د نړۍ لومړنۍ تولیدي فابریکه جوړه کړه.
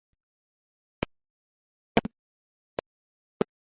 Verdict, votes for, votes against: rejected, 0, 2